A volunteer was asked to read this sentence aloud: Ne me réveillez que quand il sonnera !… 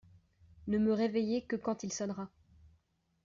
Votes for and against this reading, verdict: 2, 0, accepted